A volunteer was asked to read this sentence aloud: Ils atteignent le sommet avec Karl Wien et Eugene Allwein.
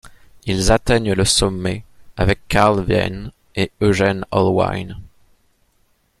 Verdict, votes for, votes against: rejected, 0, 2